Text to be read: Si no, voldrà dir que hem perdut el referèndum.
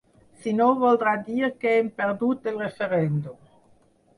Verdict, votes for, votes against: accepted, 4, 0